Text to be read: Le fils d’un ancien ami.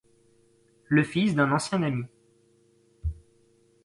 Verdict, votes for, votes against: accepted, 3, 0